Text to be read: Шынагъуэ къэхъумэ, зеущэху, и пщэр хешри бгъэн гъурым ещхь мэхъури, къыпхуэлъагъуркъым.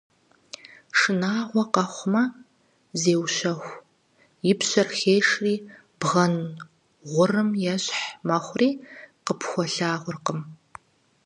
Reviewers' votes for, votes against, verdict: 4, 0, accepted